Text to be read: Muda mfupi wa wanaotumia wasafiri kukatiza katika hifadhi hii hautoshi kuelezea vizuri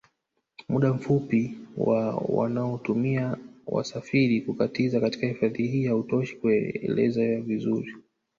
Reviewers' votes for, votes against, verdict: 1, 2, rejected